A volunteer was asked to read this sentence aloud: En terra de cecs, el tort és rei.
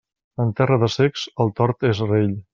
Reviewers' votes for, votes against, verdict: 1, 2, rejected